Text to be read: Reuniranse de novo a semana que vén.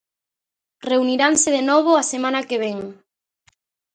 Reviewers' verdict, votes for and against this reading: accepted, 2, 0